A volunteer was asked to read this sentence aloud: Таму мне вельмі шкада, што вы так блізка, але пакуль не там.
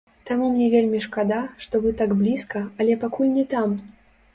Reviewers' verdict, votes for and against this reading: rejected, 0, 2